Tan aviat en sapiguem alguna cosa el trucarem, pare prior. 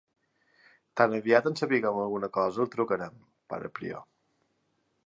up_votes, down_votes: 2, 1